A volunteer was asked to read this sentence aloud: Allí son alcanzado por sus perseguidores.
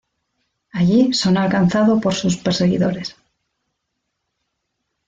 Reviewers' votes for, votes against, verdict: 2, 1, accepted